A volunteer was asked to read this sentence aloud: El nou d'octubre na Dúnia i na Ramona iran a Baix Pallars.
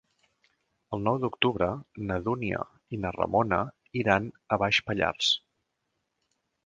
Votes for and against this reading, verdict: 2, 0, accepted